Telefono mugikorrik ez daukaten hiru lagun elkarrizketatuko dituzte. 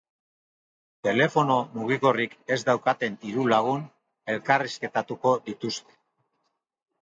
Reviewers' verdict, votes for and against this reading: accepted, 2, 0